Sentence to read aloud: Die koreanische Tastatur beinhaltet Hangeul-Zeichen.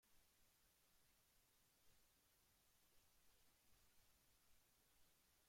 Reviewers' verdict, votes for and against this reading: rejected, 0, 2